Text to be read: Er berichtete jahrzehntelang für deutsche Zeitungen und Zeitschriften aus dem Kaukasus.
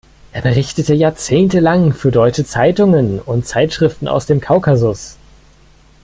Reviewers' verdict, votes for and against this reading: rejected, 1, 2